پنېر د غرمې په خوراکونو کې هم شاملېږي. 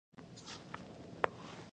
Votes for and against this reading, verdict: 1, 2, rejected